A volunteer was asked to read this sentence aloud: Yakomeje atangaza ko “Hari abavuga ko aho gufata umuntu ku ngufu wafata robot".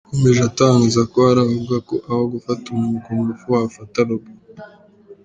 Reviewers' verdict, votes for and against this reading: rejected, 0, 2